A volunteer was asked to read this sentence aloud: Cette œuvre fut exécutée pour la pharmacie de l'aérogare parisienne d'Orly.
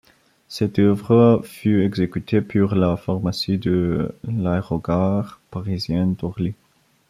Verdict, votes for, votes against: rejected, 0, 2